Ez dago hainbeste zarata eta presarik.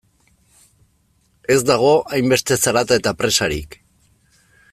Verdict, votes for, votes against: accepted, 2, 0